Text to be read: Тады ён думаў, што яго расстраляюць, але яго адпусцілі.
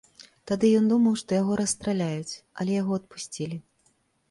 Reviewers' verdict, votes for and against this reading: accepted, 3, 1